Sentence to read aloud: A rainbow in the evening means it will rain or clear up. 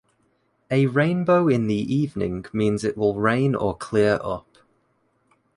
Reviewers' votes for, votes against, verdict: 2, 0, accepted